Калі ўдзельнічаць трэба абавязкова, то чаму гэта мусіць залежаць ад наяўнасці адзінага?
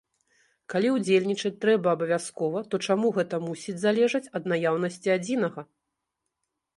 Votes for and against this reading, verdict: 1, 2, rejected